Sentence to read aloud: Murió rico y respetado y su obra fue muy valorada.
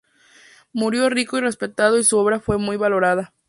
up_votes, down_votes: 2, 0